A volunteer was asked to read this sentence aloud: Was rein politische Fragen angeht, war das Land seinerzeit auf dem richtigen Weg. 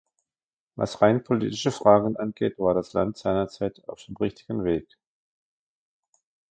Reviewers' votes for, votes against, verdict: 2, 1, accepted